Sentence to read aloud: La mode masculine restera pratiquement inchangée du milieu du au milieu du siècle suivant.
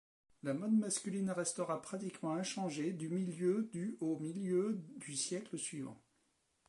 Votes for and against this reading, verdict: 0, 2, rejected